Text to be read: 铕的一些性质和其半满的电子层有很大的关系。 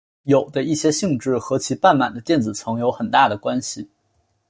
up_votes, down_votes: 5, 0